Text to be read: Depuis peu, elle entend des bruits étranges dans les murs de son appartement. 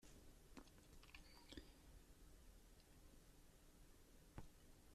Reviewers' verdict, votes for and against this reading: rejected, 0, 2